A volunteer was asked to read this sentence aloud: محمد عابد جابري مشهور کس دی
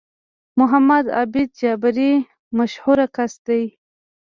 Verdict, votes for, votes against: rejected, 1, 2